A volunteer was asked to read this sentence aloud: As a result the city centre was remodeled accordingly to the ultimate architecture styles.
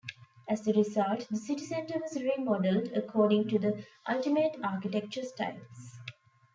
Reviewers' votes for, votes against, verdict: 1, 2, rejected